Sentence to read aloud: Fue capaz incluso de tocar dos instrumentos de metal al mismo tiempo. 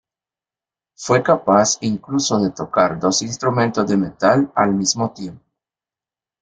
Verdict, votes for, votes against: accepted, 2, 1